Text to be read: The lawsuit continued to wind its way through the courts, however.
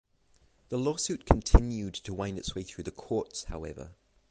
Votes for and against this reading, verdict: 3, 3, rejected